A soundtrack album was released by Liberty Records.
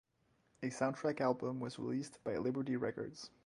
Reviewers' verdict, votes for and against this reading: rejected, 2, 2